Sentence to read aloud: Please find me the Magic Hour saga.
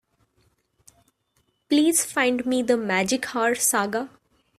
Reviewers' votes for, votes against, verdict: 2, 0, accepted